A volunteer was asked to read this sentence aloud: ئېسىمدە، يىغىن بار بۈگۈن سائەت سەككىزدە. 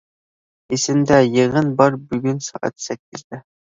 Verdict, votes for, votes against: accepted, 2, 0